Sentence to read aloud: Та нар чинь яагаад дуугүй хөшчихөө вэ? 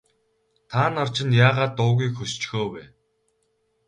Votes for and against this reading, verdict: 0, 2, rejected